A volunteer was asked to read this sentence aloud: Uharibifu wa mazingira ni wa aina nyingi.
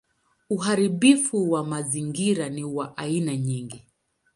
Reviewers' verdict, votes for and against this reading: accepted, 19, 2